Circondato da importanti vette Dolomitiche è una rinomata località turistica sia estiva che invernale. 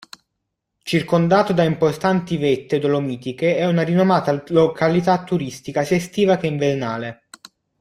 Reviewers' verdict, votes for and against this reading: rejected, 1, 2